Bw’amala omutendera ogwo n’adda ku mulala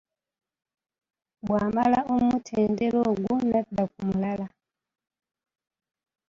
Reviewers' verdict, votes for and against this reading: rejected, 0, 2